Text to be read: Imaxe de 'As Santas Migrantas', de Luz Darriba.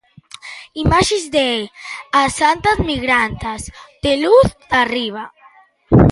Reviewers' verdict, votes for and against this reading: rejected, 1, 2